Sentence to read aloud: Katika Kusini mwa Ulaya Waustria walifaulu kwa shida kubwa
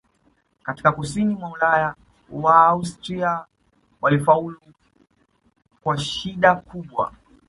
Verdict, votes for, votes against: rejected, 0, 2